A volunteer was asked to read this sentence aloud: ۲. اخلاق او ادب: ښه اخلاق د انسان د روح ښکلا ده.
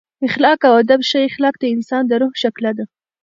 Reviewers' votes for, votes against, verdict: 0, 2, rejected